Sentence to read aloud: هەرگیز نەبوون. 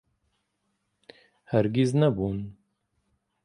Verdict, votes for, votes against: accepted, 2, 0